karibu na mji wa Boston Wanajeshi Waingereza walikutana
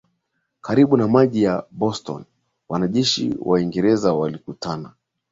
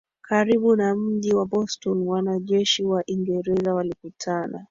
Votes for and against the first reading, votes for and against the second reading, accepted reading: 0, 2, 3, 1, second